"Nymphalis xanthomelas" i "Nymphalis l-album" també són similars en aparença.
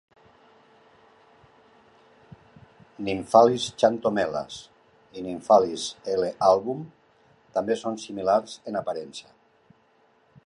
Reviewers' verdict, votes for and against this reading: accepted, 2, 1